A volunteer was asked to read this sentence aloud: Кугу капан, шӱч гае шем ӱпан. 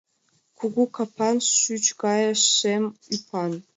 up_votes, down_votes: 2, 0